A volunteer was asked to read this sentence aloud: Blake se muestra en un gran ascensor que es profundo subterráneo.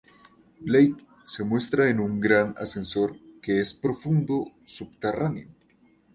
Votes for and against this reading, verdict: 2, 0, accepted